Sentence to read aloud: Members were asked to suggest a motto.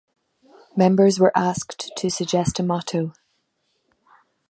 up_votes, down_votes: 2, 0